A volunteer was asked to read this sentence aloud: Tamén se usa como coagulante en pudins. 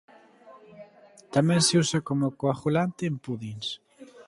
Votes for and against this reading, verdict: 2, 0, accepted